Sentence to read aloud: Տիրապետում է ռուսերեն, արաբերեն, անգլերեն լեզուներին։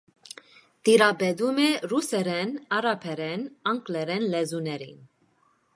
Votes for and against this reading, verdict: 2, 0, accepted